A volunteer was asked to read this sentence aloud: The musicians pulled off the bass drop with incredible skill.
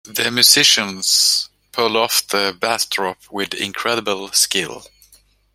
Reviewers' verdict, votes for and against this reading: rejected, 1, 2